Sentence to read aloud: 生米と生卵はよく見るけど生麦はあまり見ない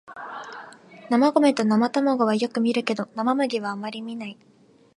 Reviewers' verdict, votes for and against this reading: accepted, 11, 1